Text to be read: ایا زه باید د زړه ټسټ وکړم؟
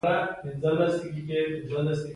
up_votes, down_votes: 1, 2